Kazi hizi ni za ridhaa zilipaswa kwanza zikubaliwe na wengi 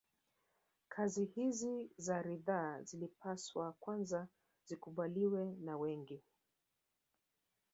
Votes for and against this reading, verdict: 0, 2, rejected